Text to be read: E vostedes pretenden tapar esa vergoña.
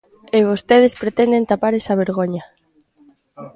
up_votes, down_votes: 2, 0